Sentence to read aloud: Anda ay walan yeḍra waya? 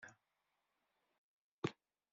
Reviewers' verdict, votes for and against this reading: rejected, 0, 2